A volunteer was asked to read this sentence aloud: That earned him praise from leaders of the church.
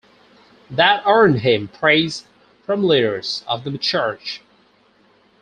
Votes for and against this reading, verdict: 0, 2, rejected